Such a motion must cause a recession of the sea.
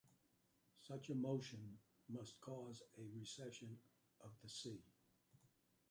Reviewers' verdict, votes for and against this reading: accepted, 2, 1